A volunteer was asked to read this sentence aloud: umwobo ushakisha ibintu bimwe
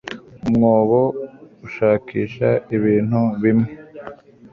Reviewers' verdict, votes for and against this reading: accepted, 2, 1